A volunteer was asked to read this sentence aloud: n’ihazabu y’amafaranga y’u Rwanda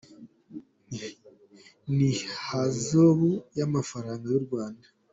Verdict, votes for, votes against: rejected, 1, 2